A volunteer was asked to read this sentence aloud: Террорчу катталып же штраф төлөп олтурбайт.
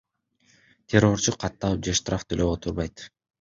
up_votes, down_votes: 2, 0